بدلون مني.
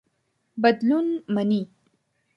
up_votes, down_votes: 2, 0